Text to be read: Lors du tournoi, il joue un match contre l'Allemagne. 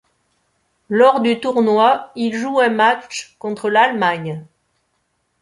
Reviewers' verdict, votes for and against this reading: accepted, 2, 1